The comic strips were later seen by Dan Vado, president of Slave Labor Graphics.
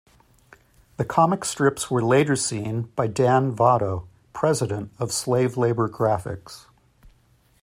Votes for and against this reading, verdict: 2, 0, accepted